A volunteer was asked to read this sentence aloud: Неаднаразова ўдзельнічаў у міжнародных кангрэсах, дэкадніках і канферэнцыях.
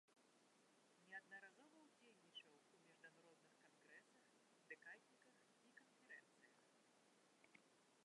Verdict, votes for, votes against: rejected, 0, 2